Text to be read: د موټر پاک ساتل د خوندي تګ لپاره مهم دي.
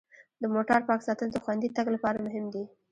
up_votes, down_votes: 0, 2